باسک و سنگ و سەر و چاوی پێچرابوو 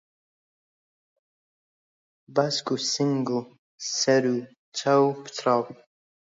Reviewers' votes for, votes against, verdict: 0, 2, rejected